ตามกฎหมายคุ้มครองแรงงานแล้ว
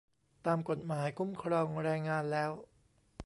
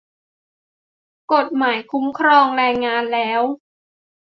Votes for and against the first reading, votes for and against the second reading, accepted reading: 2, 0, 0, 2, first